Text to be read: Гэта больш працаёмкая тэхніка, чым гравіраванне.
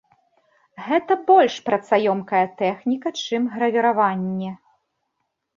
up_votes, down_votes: 1, 2